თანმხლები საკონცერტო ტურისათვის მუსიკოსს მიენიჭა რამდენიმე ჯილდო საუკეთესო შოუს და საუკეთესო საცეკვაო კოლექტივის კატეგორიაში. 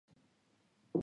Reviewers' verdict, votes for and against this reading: rejected, 0, 2